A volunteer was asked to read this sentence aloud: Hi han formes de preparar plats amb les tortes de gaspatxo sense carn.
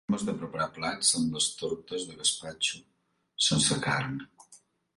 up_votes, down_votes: 0, 2